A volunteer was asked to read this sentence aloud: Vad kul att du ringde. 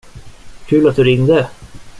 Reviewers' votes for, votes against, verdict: 0, 2, rejected